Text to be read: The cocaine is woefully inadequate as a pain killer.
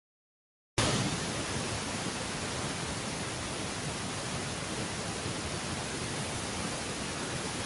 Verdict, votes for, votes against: rejected, 0, 2